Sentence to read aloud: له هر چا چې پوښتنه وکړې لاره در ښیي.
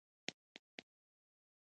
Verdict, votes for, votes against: rejected, 0, 2